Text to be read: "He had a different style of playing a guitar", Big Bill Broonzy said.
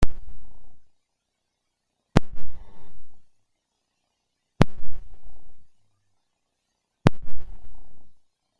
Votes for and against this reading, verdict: 0, 2, rejected